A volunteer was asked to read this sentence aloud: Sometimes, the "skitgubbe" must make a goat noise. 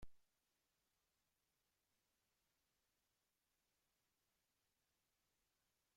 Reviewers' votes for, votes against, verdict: 0, 2, rejected